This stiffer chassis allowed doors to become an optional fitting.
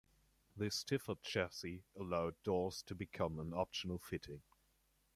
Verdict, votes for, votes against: accepted, 2, 1